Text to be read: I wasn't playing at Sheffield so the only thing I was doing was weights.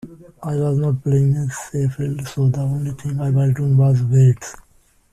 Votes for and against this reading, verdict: 0, 2, rejected